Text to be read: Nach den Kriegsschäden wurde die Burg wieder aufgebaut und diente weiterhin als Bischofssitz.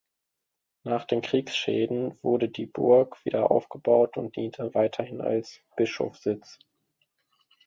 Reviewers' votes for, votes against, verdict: 1, 2, rejected